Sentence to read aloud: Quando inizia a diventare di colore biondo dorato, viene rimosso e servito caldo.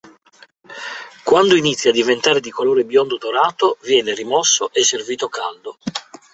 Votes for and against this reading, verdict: 3, 0, accepted